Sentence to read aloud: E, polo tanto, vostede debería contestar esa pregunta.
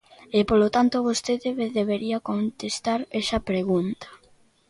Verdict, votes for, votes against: rejected, 1, 2